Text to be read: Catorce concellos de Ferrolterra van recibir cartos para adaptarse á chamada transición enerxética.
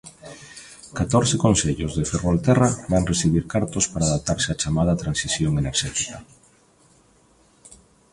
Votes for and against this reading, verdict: 1, 2, rejected